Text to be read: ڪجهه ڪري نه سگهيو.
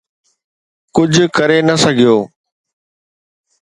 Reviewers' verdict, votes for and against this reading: accepted, 2, 0